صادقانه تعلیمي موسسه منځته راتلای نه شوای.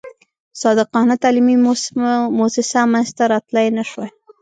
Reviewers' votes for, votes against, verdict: 1, 2, rejected